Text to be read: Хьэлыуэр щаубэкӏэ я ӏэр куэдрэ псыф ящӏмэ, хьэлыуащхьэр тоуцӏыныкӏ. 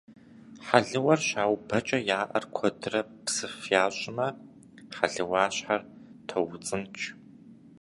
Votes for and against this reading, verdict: 0, 2, rejected